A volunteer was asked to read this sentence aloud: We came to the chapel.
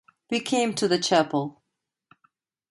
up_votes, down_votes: 2, 0